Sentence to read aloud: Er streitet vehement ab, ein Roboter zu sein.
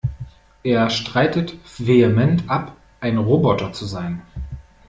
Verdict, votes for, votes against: accepted, 2, 0